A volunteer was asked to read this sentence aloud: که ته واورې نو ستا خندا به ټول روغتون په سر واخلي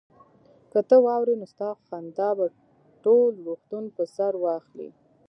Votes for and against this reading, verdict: 1, 2, rejected